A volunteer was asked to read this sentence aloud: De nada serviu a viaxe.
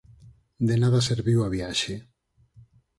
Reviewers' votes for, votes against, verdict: 4, 0, accepted